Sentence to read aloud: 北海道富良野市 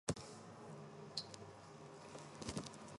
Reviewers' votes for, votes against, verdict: 1, 2, rejected